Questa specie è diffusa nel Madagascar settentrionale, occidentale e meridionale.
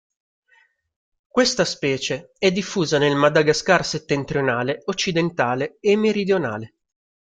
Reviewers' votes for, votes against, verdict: 2, 0, accepted